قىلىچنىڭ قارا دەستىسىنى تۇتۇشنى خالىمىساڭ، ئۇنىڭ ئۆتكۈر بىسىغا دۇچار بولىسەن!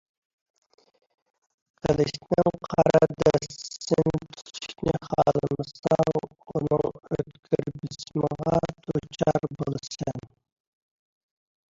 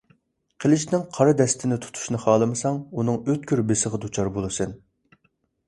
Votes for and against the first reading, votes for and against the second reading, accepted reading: 0, 2, 2, 1, second